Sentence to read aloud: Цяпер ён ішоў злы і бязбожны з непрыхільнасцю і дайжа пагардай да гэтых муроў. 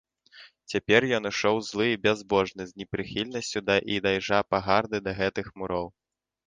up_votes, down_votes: 1, 2